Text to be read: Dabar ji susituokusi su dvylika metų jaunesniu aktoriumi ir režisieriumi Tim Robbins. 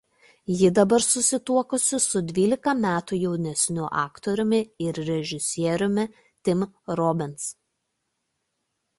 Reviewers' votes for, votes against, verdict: 0, 2, rejected